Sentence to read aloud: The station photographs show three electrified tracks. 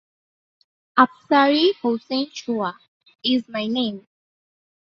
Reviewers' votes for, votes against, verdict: 0, 2, rejected